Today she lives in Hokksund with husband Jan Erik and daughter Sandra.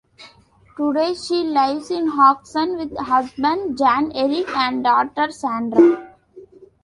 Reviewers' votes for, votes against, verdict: 1, 2, rejected